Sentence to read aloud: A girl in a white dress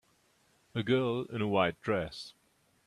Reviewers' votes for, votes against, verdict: 2, 0, accepted